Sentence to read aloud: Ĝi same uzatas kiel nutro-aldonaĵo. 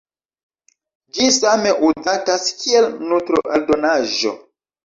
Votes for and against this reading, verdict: 0, 2, rejected